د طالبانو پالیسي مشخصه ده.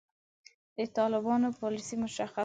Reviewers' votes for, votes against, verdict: 1, 5, rejected